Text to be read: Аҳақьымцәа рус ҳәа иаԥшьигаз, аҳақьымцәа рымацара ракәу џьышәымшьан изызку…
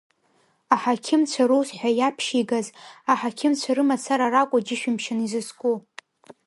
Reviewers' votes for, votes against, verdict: 2, 0, accepted